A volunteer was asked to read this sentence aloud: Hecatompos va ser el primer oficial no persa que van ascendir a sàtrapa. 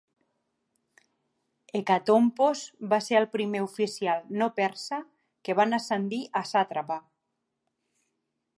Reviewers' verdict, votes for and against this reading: accepted, 2, 0